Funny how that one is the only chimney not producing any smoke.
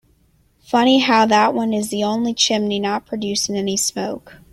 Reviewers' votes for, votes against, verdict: 2, 0, accepted